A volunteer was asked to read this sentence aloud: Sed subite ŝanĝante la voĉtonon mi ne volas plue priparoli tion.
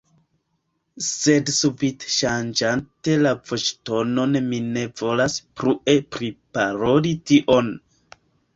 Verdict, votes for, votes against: rejected, 1, 2